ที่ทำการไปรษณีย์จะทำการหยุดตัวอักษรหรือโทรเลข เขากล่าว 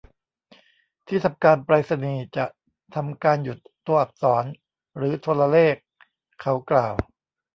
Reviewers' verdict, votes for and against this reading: rejected, 0, 2